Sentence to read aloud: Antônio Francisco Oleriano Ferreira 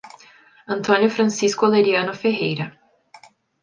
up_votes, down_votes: 2, 0